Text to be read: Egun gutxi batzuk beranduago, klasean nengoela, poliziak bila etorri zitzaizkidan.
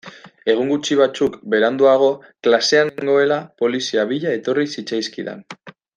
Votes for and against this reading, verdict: 1, 2, rejected